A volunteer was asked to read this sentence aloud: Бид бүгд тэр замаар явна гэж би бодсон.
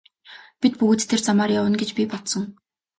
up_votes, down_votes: 2, 0